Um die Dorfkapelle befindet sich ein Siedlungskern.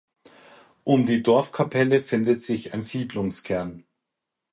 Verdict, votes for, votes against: rejected, 2, 4